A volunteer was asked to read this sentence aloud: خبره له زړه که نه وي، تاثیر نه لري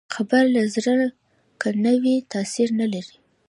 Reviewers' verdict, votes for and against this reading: accepted, 2, 0